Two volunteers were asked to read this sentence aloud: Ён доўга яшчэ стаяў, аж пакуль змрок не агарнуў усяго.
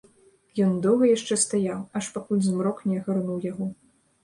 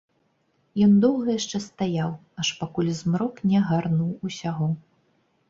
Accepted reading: second